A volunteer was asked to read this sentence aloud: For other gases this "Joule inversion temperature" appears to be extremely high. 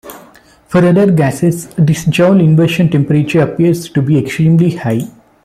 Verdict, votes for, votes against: rejected, 1, 2